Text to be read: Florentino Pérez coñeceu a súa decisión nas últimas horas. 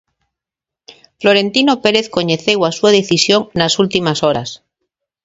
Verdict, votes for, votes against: accepted, 2, 0